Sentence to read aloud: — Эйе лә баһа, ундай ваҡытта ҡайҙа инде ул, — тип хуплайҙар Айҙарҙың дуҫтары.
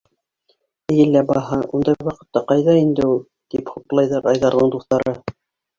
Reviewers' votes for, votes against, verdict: 1, 2, rejected